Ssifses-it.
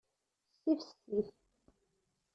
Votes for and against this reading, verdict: 1, 2, rejected